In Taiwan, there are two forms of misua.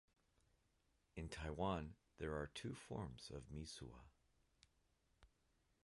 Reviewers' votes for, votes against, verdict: 2, 1, accepted